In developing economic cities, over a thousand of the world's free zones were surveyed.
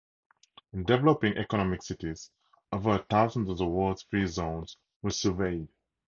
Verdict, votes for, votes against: accepted, 2, 0